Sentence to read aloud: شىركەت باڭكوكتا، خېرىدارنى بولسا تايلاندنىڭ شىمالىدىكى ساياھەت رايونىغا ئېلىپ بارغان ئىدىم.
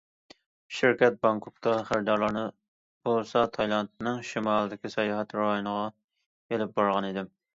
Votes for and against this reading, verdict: 1, 2, rejected